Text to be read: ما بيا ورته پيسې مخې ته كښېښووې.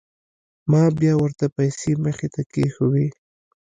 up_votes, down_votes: 2, 0